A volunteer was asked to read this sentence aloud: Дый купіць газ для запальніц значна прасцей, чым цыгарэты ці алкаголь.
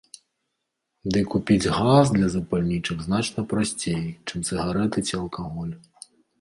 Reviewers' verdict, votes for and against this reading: rejected, 1, 2